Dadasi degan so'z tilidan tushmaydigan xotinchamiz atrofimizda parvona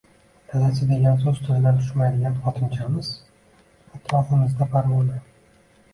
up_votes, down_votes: 1, 2